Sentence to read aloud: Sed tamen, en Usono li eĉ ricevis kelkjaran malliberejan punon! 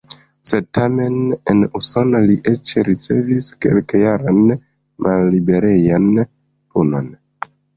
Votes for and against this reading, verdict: 2, 0, accepted